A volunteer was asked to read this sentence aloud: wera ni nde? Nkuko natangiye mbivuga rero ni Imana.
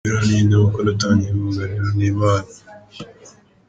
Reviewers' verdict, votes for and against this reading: rejected, 0, 2